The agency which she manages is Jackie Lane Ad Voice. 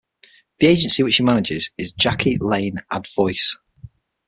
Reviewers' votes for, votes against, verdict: 6, 0, accepted